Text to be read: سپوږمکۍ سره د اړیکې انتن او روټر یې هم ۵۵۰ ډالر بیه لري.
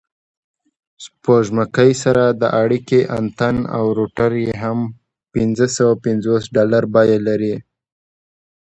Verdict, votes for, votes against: rejected, 0, 2